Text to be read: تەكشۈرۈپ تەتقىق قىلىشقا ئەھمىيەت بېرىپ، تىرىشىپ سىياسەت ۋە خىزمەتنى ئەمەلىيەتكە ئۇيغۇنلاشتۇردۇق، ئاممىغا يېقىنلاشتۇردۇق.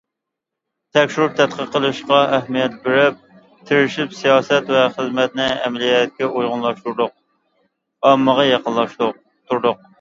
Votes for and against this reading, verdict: 0, 2, rejected